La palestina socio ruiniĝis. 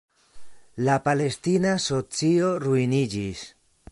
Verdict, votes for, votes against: accepted, 2, 0